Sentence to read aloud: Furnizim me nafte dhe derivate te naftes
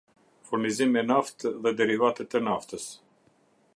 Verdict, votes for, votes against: rejected, 0, 2